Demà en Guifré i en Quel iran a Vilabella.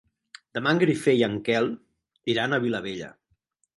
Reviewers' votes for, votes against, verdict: 2, 4, rejected